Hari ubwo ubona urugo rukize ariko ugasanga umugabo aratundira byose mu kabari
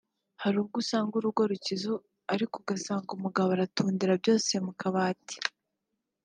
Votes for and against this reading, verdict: 1, 2, rejected